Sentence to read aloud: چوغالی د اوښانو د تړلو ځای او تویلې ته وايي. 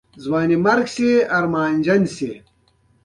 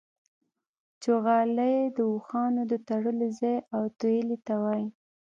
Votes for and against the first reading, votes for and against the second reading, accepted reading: 1, 2, 2, 0, second